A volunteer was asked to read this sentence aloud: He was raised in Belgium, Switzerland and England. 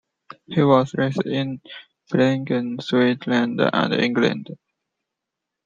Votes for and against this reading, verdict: 0, 2, rejected